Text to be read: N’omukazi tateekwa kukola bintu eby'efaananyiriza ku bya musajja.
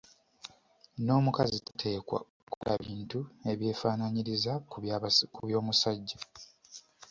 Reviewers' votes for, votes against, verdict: 1, 2, rejected